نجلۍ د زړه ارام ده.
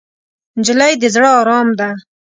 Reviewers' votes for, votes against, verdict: 2, 0, accepted